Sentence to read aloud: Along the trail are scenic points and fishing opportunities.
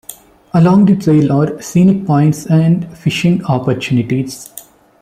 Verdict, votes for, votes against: accepted, 2, 0